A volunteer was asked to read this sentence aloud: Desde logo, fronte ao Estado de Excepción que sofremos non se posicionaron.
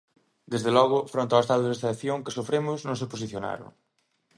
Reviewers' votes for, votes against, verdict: 2, 1, accepted